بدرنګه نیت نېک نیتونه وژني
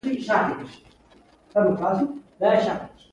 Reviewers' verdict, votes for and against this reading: accepted, 2, 0